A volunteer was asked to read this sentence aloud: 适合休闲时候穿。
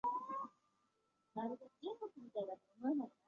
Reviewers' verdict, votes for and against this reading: rejected, 1, 2